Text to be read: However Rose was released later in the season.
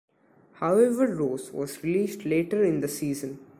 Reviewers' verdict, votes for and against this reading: accepted, 2, 0